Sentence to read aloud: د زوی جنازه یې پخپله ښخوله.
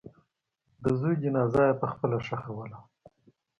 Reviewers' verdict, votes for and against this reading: accepted, 2, 0